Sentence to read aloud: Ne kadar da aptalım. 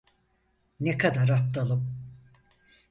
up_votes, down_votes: 2, 4